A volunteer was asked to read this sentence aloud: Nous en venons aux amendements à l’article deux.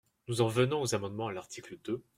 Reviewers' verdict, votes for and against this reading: accepted, 2, 1